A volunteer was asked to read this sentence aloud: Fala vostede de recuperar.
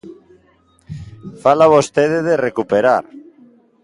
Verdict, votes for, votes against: accepted, 2, 0